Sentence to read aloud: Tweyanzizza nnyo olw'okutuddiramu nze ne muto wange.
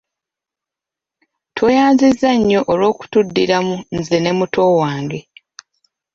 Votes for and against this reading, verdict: 2, 0, accepted